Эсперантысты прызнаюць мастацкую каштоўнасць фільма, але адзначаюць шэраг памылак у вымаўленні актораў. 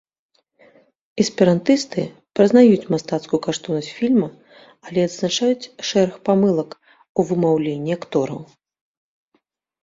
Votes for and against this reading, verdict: 2, 0, accepted